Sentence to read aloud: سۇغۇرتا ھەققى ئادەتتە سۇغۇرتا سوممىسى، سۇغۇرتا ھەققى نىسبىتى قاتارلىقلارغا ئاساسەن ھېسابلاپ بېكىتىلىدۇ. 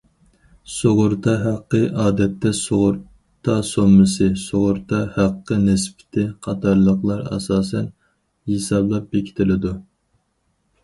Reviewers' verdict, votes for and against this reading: rejected, 2, 2